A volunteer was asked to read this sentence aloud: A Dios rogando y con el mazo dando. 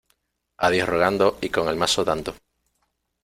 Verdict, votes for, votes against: accepted, 2, 0